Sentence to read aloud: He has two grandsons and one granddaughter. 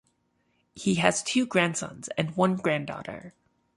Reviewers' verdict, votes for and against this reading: accepted, 2, 0